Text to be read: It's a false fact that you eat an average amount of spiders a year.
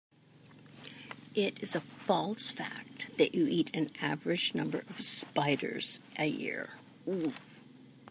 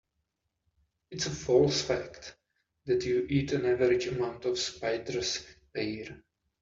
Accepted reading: second